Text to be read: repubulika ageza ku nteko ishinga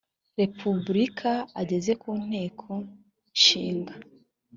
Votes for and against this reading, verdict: 1, 2, rejected